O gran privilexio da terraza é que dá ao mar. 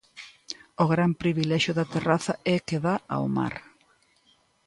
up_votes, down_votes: 2, 0